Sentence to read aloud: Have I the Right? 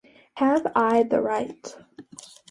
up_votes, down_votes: 2, 0